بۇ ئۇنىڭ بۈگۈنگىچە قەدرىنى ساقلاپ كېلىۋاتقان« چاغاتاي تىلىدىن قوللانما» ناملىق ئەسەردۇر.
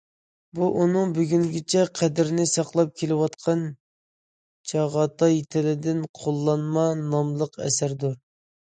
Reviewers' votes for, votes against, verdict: 2, 0, accepted